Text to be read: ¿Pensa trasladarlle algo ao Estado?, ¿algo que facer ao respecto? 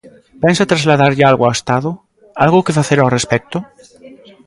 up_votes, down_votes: 2, 0